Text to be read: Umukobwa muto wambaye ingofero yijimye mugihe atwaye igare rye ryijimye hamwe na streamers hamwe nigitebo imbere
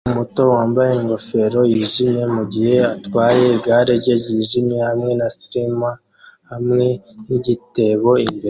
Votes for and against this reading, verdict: 1, 2, rejected